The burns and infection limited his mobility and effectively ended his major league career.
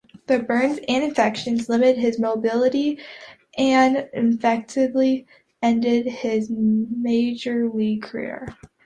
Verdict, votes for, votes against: rejected, 1, 2